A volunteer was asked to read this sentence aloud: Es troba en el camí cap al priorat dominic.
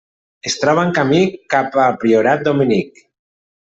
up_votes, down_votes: 1, 2